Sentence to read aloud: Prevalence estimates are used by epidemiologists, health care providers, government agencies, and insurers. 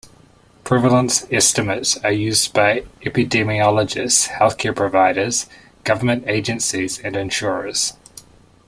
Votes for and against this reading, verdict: 1, 2, rejected